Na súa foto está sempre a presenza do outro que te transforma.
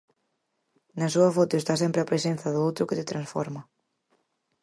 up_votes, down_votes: 4, 0